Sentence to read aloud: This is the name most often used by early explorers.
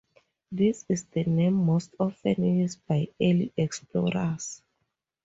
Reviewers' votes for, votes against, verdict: 2, 0, accepted